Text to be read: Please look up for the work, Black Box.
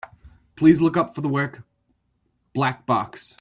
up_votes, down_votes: 2, 0